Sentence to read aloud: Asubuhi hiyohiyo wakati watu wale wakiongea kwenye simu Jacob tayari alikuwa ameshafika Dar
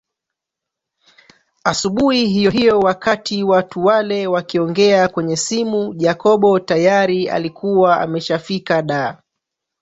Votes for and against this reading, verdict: 0, 2, rejected